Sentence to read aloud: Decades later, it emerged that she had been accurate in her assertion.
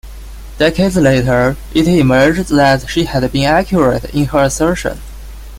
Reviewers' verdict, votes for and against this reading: rejected, 0, 2